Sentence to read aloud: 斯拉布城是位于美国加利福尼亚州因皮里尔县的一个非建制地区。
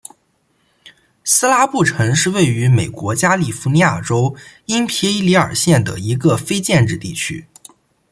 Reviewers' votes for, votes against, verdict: 2, 0, accepted